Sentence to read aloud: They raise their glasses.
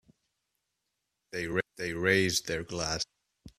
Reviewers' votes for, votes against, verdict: 0, 2, rejected